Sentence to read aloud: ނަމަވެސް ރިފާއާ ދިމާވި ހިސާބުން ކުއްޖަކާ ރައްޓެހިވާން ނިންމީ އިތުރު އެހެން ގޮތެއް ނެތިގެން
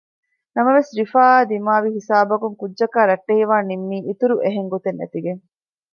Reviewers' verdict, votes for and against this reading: rejected, 0, 2